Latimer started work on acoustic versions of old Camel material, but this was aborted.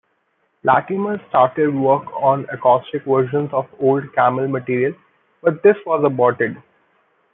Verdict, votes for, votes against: accepted, 2, 1